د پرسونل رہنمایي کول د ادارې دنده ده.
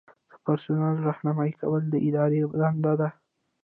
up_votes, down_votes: 2, 0